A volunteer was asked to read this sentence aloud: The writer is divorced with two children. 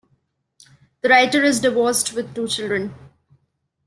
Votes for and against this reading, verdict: 1, 2, rejected